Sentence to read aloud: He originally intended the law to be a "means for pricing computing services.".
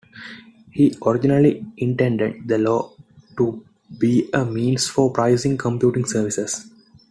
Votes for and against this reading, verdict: 2, 1, accepted